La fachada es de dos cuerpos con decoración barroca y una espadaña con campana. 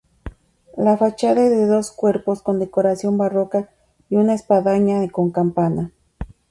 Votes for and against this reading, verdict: 2, 2, rejected